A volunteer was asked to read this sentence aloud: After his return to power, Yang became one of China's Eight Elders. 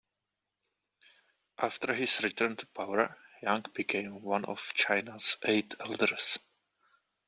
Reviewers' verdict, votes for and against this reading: rejected, 1, 2